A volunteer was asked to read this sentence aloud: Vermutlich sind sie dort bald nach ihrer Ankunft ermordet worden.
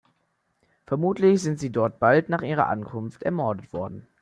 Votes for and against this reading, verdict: 2, 0, accepted